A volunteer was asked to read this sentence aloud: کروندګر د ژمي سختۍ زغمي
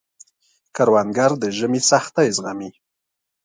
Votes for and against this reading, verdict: 2, 0, accepted